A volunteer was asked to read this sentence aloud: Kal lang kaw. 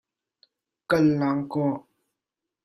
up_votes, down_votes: 2, 0